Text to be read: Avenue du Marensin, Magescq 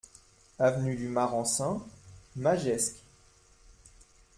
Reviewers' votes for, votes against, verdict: 2, 0, accepted